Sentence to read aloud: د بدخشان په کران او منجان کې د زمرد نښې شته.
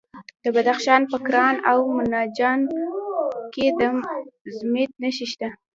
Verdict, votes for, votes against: rejected, 1, 2